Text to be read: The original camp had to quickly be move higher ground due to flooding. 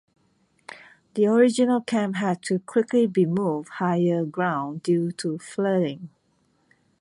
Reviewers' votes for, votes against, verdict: 2, 0, accepted